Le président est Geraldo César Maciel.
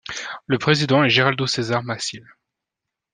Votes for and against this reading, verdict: 2, 0, accepted